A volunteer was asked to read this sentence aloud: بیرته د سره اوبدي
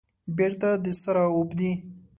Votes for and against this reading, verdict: 2, 0, accepted